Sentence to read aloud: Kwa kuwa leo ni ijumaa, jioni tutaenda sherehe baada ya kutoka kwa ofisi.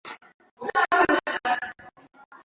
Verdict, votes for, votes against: rejected, 0, 2